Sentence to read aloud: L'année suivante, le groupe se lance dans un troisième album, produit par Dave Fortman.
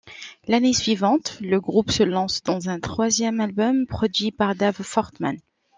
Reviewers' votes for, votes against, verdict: 2, 1, accepted